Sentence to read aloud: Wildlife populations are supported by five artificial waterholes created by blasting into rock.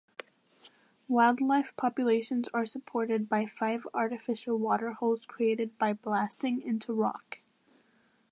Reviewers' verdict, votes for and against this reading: accepted, 2, 0